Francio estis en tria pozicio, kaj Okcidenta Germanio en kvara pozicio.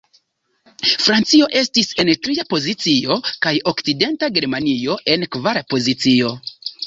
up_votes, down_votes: 2, 0